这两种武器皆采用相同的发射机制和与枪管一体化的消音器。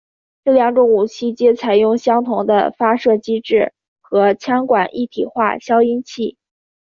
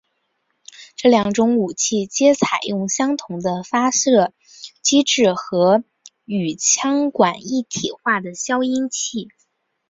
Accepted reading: second